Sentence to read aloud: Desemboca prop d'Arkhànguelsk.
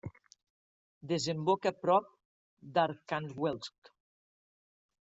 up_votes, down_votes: 0, 2